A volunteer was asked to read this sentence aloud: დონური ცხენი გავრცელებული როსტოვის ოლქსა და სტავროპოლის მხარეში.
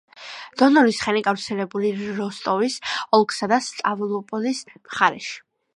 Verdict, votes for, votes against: accepted, 2, 1